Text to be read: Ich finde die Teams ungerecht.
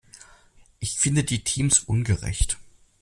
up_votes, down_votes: 2, 0